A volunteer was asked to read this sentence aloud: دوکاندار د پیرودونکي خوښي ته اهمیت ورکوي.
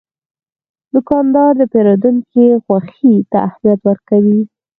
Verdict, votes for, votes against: rejected, 2, 4